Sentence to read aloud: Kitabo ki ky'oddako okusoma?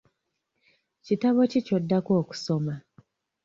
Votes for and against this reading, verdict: 2, 0, accepted